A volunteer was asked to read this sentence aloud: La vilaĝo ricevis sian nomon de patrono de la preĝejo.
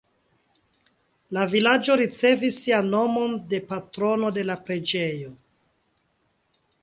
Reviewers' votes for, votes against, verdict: 2, 0, accepted